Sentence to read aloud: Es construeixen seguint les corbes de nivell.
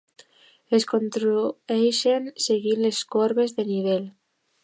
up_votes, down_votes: 0, 2